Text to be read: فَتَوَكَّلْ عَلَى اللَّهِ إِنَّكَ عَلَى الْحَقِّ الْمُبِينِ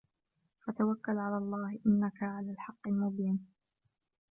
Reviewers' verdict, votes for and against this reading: accepted, 2, 1